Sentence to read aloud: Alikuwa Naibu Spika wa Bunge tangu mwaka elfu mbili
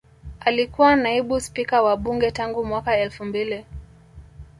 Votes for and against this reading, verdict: 1, 2, rejected